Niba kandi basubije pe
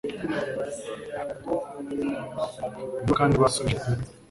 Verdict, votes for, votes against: rejected, 1, 2